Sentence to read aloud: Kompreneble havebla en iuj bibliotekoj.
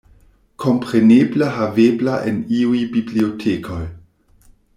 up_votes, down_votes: 1, 2